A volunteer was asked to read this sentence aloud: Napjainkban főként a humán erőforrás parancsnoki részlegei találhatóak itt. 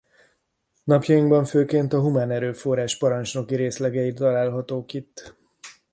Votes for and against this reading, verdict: 0, 2, rejected